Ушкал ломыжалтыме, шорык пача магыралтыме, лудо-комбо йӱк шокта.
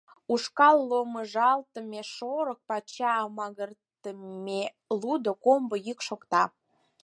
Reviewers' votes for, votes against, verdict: 0, 4, rejected